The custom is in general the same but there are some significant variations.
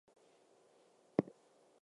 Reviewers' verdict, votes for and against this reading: accepted, 2, 0